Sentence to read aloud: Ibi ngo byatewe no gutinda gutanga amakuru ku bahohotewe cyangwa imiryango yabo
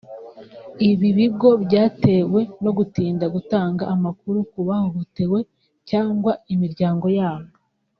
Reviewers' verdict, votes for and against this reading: rejected, 1, 2